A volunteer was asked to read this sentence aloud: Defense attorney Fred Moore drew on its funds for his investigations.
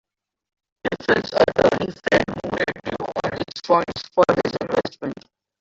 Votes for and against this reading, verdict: 0, 2, rejected